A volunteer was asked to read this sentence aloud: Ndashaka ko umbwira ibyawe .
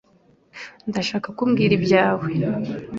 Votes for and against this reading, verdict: 2, 0, accepted